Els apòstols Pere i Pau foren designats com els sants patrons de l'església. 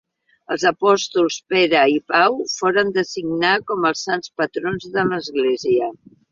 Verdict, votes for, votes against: rejected, 1, 2